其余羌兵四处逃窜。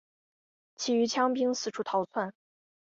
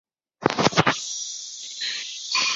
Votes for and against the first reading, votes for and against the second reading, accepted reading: 4, 0, 0, 2, first